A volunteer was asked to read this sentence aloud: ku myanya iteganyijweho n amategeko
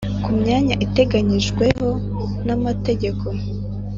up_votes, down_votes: 3, 0